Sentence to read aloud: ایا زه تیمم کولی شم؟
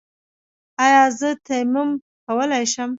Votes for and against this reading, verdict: 2, 0, accepted